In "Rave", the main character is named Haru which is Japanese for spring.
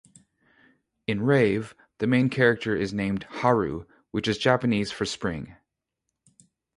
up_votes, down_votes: 2, 0